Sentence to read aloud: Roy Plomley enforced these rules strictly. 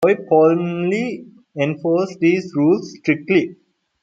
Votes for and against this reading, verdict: 0, 2, rejected